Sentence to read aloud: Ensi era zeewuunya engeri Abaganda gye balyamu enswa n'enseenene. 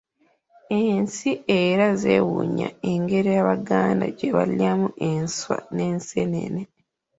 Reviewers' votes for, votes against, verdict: 0, 2, rejected